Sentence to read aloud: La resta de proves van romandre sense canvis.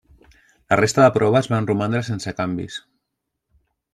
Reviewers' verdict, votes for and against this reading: rejected, 1, 2